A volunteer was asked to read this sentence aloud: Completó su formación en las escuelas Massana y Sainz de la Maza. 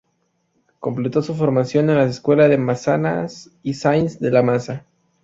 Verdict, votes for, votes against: rejected, 0, 2